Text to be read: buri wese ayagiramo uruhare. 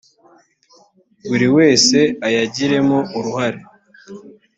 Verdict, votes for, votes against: rejected, 1, 2